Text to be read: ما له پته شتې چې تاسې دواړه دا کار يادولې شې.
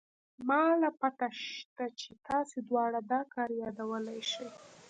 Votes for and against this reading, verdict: 2, 0, accepted